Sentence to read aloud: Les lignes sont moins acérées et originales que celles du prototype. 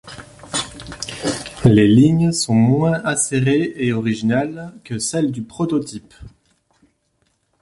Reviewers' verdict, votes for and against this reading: accepted, 2, 0